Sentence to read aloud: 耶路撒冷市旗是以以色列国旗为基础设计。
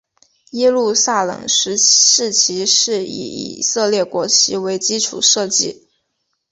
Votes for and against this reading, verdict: 2, 0, accepted